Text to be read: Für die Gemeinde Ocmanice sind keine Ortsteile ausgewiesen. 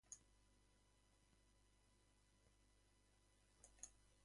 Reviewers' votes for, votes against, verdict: 0, 2, rejected